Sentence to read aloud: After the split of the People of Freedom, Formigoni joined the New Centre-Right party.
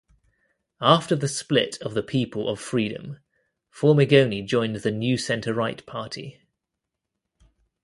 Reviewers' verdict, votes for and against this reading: accepted, 2, 0